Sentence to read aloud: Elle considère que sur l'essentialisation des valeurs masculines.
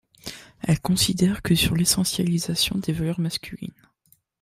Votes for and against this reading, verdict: 2, 0, accepted